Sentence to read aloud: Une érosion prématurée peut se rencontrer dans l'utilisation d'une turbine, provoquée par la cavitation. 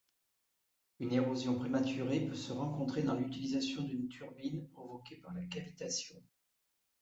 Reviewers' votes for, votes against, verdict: 2, 0, accepted